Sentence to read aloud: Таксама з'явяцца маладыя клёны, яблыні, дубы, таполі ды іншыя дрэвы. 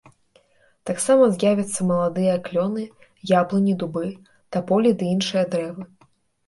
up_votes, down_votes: 2, 0